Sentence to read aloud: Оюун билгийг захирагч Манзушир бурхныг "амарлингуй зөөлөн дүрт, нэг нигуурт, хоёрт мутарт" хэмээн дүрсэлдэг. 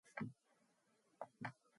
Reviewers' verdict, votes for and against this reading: rejected, 2, 4